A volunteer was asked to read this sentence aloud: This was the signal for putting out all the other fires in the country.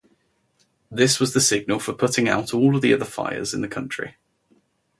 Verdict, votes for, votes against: rejected, 0, 2